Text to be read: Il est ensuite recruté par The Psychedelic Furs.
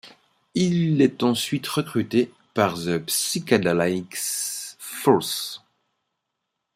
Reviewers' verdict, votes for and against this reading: rejected, 1, 2